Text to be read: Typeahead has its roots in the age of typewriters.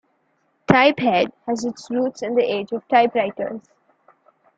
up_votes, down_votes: 2, 0